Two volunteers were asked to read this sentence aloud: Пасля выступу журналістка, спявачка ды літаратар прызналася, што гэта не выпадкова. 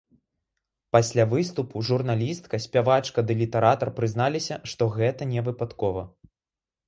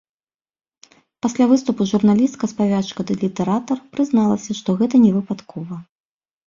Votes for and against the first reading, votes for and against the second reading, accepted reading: 1, 2, 2, 0, second